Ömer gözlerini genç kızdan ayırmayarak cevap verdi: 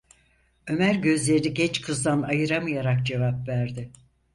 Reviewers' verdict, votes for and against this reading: rejected, 0, 4